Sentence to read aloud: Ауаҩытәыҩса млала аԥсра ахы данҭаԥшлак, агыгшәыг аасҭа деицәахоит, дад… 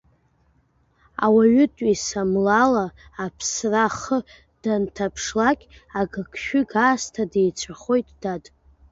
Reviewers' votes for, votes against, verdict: 2, 1, accepted